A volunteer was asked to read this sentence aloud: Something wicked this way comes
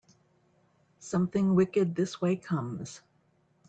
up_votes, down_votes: 3, 0